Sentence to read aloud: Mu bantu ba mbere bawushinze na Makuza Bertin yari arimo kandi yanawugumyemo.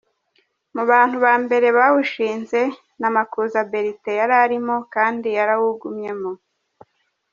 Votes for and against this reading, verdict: 1, 2, rejected